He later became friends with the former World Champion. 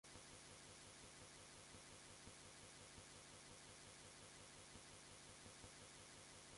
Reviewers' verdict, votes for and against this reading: rejected, 0, 2